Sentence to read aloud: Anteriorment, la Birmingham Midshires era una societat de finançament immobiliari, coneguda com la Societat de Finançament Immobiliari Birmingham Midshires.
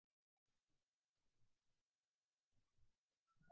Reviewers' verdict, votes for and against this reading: rejected, 0, 2